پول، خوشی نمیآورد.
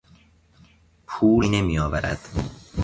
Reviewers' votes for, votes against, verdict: 1, 2, rejected